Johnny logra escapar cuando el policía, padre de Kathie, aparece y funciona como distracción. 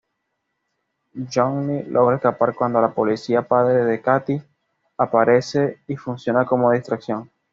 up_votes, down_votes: 2, 0